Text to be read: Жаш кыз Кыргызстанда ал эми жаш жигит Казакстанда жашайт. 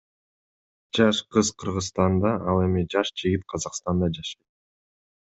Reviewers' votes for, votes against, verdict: 0, 2, rejected